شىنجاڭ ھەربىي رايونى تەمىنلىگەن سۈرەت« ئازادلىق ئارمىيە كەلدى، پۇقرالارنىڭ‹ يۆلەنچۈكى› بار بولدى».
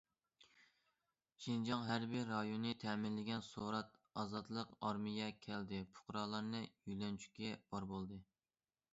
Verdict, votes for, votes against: rejected, 0, 2